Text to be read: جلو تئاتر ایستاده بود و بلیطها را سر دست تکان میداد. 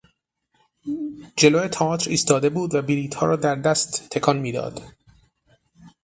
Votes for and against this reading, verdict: 0, 6, rejected